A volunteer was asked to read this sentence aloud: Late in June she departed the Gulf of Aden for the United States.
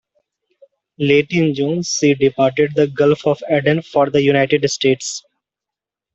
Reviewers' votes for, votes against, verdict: 2, 0, accepted